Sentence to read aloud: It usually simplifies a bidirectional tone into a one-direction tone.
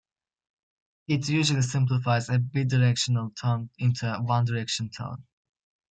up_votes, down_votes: 2, 0